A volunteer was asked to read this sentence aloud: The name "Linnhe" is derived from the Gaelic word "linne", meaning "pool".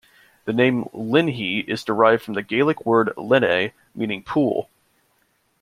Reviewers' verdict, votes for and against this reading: accepted, 2, 0